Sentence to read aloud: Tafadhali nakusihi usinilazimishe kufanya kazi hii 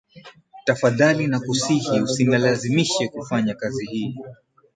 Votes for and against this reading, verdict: 5, 8, rejected